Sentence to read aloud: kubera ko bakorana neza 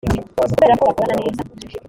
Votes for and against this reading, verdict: 1, 3, rejected